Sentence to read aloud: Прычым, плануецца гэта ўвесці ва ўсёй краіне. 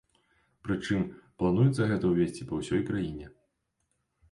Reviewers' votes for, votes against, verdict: 2, 1, accepted